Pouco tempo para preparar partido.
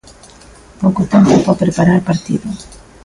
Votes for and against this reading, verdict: 2, 0, accepted